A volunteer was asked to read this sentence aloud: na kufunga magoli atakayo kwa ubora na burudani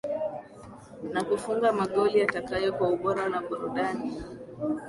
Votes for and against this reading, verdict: 2, 1, accepted